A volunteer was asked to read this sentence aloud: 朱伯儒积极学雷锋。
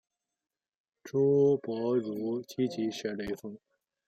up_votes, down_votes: 1, 2